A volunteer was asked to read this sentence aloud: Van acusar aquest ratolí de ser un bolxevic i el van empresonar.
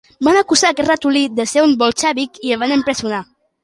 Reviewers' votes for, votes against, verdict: 2, 0, accepted